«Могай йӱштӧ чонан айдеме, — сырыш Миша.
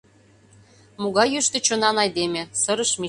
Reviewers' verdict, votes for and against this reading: rejected, 1, 2